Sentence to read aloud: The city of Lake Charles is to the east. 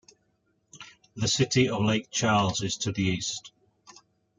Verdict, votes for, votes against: accepted, 2, 0